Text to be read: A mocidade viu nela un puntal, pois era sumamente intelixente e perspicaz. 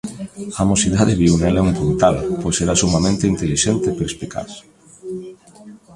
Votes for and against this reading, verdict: 1, 2, rejected